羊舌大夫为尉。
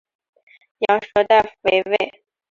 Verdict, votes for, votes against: accepted, 9, 0